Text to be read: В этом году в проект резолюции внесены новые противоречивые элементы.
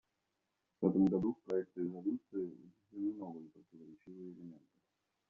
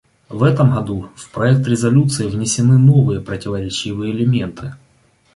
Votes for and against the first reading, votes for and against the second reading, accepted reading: 0, 2, 2, 0, second